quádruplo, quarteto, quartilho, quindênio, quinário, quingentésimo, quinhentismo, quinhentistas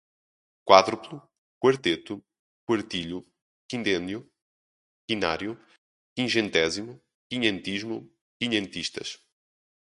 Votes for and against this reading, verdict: 4, 0, accepted